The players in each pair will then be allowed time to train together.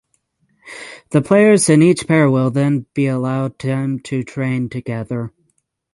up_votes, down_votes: 3, 6